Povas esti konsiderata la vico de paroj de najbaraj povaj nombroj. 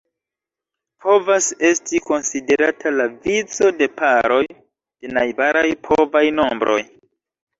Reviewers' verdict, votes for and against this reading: rejected, 1, 2